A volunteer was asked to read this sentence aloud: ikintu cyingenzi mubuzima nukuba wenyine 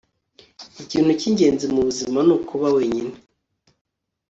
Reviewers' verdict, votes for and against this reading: accepted, 2, 0